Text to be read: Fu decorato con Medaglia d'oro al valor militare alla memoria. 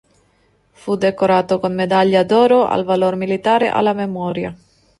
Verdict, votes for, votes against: accepted, 2, 0